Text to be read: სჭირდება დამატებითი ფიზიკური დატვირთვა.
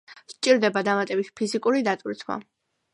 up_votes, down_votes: 2, 0